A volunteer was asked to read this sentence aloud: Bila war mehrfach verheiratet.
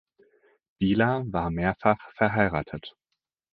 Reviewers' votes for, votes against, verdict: 4, 0, accepted